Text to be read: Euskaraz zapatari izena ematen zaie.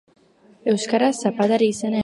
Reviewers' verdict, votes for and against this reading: rejected, 1, 2